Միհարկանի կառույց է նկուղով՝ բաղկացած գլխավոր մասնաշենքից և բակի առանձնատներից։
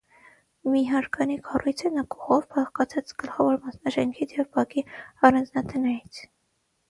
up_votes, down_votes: 0, 6